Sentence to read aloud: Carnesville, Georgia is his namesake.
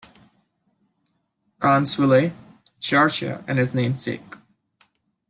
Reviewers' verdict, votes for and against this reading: accepted, 2, 1